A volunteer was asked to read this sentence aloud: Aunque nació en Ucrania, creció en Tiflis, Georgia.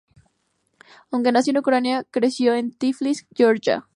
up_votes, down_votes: 2, 0